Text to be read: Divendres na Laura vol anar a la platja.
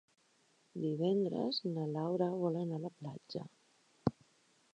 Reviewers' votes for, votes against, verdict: 3, 0, accepted